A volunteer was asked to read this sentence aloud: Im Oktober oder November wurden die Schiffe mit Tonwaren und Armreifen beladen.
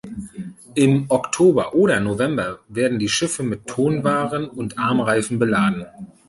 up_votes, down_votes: 0, 2